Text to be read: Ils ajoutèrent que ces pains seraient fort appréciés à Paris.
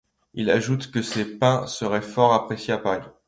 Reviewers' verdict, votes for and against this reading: rejected, 0, 2